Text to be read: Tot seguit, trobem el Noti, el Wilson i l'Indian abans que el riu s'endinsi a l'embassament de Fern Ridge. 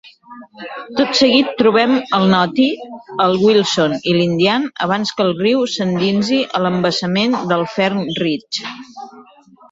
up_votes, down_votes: 0, 2